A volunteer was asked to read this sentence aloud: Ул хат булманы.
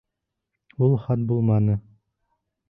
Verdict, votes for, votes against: accepted, 2, 0